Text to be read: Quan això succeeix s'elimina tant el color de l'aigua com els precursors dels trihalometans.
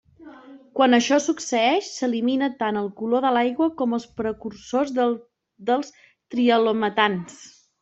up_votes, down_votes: 2, 1